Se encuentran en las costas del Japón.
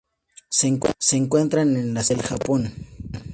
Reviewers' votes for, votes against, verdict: 0, 2, rejected